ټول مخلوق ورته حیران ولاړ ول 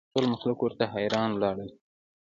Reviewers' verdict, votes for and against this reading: accepted, 2, 0